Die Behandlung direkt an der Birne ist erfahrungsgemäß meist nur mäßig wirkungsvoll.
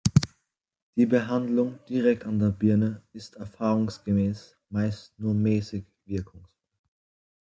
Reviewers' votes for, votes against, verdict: 0, 2, rejected